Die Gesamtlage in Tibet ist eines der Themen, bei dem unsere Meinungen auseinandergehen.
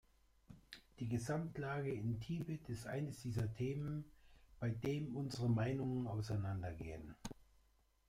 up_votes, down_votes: 0, 2